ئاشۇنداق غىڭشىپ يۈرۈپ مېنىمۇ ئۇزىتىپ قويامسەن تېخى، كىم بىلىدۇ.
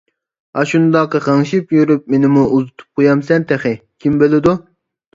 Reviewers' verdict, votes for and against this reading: accepted, 2, 0